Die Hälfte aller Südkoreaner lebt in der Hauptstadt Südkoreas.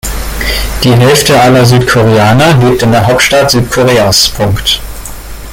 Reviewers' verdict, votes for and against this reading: rejected, 0, 2